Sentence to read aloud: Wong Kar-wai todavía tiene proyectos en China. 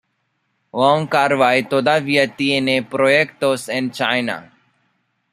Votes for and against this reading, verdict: 0, 3, rejected